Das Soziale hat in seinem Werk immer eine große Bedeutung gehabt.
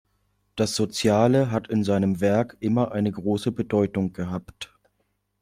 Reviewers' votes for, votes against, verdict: 2, 0, accepted